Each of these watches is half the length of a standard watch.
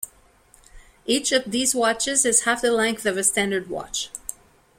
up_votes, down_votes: 2, 0